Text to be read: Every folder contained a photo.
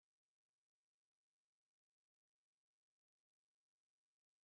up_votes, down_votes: 0, 3